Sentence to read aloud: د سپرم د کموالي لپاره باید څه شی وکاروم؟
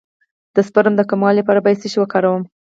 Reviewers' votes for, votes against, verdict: 2, 4, rejected